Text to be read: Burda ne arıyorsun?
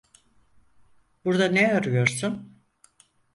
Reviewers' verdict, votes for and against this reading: accepted, 4, 0